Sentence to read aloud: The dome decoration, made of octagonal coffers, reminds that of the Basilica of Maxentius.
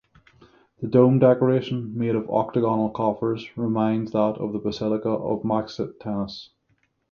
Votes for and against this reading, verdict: 0, 3, rejected